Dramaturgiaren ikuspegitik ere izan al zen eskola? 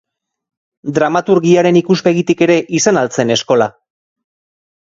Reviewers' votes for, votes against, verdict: 3, 0, accepted